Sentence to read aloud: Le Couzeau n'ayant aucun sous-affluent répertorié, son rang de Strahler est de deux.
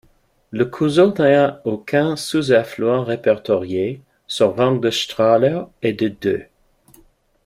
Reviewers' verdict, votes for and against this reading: rejected, 0, 2